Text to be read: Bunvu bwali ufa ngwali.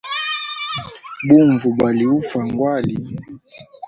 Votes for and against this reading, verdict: 1, 2, rejected